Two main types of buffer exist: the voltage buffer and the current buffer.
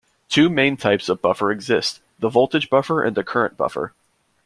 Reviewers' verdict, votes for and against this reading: accepted, 2, 0